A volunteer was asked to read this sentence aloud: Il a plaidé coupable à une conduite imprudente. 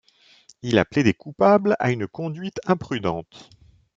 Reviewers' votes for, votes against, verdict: 1, 2, rejected